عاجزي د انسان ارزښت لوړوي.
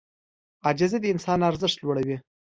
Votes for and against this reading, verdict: 2, 0, accepted